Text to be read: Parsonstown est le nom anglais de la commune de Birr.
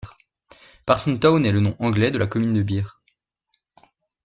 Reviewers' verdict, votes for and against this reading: rejected, 0, 2